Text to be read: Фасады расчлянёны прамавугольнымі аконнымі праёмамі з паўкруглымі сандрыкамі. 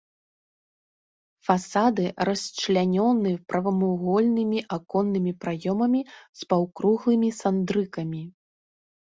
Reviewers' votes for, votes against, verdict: 1, 2, rejected